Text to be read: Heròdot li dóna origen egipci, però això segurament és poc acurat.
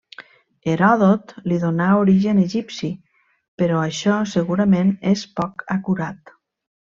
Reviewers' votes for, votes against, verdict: 0, 2, rejected